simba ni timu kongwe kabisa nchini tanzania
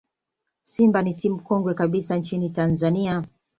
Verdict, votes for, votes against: accepted, 2, 0